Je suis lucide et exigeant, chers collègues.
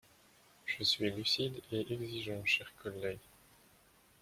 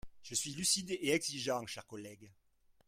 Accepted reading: second